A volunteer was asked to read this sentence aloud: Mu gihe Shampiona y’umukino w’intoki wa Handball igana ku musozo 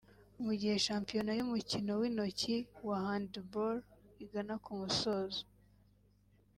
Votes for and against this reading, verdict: 3, 0, accepted